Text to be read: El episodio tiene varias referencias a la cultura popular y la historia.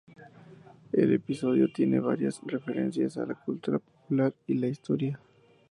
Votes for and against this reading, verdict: 2, 0, accepted